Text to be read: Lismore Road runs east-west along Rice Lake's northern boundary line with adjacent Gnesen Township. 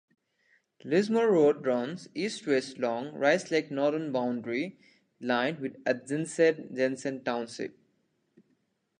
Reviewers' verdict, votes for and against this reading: rejected, 1, 2